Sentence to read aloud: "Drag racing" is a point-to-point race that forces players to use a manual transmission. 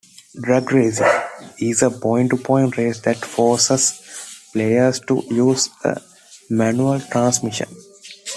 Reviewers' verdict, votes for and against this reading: accepted, 2, 0